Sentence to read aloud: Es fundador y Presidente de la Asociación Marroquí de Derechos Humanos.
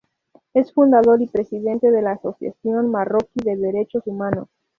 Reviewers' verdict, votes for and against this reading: rejected, 0, 2